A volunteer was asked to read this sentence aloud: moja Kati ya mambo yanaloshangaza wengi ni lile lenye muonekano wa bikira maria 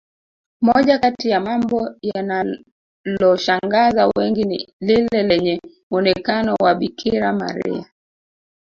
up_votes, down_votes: 2, 3